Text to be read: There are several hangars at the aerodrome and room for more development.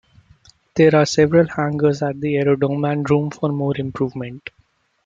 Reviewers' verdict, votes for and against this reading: accepted, 2, 1